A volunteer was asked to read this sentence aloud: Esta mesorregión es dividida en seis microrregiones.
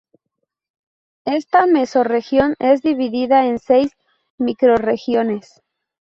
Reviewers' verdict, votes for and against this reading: rejected, 2, 2